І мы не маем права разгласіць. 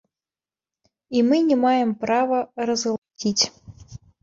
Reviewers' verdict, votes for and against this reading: rejected, 1, 2